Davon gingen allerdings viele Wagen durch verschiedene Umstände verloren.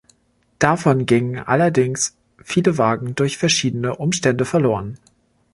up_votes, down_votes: 2, 0